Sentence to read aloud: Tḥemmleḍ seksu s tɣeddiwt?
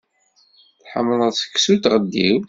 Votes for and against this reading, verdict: 2, 0, accepted